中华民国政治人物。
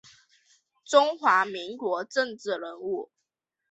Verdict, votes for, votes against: accepted, 4, 0